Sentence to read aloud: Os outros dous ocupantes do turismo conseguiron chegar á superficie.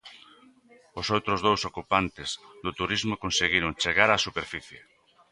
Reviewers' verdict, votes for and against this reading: accepted, 2, 0